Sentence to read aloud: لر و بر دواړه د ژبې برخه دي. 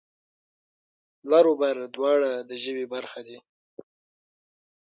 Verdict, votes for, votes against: rejected, 3, 6